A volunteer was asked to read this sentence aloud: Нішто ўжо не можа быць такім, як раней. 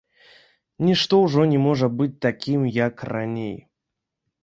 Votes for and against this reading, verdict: 0, 2, rejected